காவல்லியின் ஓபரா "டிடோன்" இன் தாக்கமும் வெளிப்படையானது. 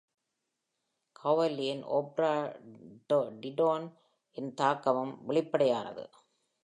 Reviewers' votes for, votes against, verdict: 1, 2, rejected